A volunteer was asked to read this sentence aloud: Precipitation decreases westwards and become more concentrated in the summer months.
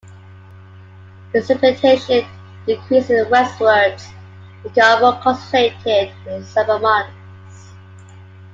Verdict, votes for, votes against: rejected, 0, 2